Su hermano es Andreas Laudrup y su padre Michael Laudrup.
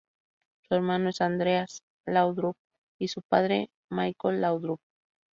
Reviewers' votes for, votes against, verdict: 2, 0, accepted